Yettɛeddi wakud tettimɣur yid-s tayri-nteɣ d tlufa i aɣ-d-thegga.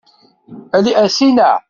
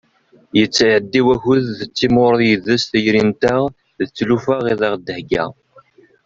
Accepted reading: second